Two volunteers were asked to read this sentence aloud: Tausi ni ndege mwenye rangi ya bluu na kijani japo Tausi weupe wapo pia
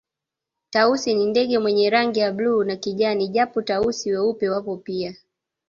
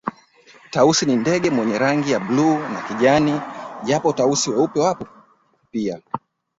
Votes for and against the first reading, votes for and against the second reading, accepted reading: 2, 0, 1, 2, first